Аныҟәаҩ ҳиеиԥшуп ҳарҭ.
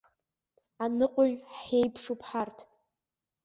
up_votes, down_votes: 2, 0